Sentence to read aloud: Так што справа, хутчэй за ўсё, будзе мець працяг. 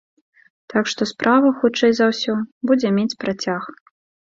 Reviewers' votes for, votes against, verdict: 2, 0, accepted